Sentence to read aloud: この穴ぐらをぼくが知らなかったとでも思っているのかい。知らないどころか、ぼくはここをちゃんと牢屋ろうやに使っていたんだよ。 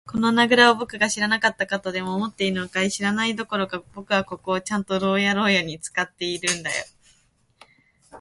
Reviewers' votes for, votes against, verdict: 2, 1, accepted